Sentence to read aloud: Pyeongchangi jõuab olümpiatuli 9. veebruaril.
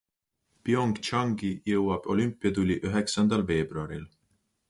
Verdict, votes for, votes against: rejected, 0, 2